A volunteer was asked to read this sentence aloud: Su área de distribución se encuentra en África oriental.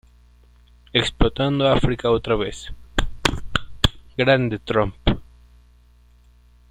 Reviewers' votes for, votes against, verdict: 0, 3, rejected